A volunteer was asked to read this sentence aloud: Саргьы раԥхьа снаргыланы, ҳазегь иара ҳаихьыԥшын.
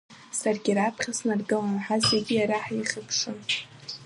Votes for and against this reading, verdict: 2, 0, accepted